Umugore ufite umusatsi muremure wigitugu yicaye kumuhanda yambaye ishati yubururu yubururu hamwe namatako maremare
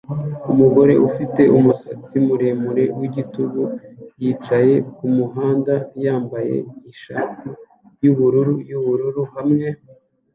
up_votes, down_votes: 1, 2